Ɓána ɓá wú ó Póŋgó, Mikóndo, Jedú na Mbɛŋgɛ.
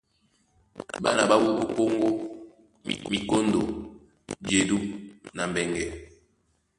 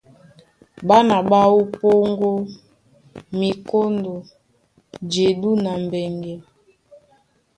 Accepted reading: second